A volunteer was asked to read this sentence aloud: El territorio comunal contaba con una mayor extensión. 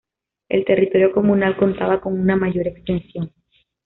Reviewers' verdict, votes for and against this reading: accepted, 2, 1